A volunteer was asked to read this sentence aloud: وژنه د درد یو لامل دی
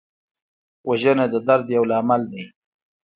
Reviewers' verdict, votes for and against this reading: accepted, 2, 0